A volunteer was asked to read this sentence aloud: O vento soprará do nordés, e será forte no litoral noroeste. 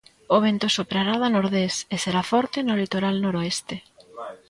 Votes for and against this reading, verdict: 1, 2, rejected